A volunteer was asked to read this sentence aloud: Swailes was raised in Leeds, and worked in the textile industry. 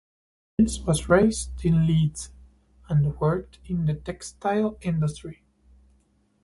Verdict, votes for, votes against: rejected, 0, 2